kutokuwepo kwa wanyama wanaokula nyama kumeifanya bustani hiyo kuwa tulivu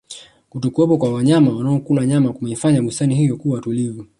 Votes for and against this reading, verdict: 2, 1, accepted